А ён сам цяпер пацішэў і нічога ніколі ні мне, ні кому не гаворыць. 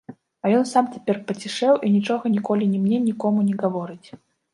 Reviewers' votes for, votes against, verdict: 2, 0, accepted